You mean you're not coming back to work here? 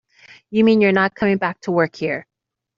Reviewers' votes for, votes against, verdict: 2, 0, accepted